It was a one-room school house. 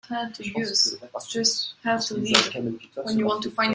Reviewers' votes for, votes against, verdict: 0, 2, rejected